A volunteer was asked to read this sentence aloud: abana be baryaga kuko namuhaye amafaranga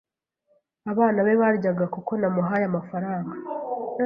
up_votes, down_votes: 2, 0